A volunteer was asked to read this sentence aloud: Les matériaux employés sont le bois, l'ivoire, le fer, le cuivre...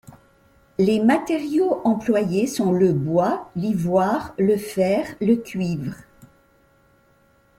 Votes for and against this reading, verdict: 2, 0, accepted